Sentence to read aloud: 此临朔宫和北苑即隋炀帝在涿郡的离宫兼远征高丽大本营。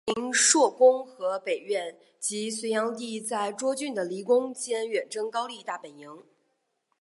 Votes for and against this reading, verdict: 2, 1, accepted